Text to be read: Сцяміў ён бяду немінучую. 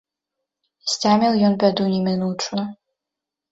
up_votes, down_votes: 2, 0